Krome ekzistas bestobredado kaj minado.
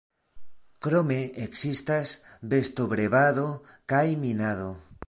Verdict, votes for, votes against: rejected, 1, 2